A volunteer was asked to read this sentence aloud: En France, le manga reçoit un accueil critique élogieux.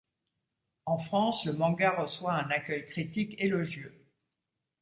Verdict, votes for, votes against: accepted, 2, 0